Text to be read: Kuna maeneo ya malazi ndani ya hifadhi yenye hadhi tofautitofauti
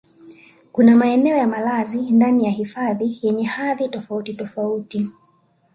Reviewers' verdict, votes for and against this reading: accepted, 2, 0